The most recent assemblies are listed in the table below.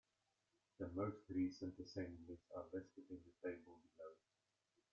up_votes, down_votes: 1, 2